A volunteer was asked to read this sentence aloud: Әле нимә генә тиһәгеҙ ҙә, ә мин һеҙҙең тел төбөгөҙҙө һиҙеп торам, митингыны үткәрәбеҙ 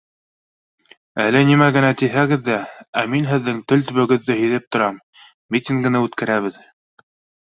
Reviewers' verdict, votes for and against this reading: accepted, 2, 0